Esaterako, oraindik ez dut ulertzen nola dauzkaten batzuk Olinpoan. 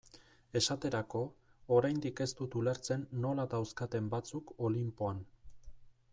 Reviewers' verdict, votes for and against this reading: accepted, 2, 0